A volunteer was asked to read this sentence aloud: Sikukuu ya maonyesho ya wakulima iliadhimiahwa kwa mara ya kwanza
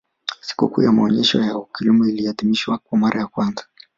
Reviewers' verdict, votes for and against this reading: accepted, 2, 1